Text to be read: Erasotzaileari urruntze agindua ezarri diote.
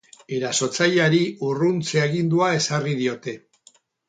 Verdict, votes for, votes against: rejected, 2, 2